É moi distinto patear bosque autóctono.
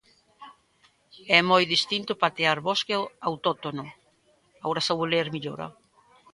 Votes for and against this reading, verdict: 0, 2, rejected